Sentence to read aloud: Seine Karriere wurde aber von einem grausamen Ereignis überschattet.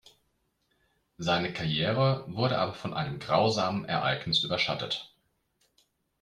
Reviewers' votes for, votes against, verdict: 2, 0, accepted